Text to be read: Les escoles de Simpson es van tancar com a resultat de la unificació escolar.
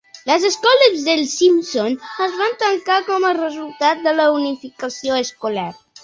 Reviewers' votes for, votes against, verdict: 0, 2, rejected